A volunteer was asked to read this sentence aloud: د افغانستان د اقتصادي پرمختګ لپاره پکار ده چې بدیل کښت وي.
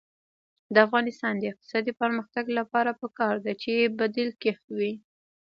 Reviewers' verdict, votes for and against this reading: rejected, 1, 2